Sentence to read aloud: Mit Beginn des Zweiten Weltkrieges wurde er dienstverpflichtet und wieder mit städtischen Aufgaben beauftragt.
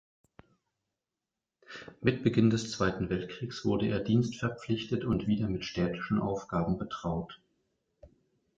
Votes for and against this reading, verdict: 0, 2, rejected